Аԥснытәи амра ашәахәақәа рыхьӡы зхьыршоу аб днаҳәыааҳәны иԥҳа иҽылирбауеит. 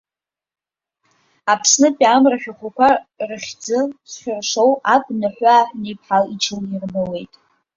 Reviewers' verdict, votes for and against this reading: rejected, 1, 2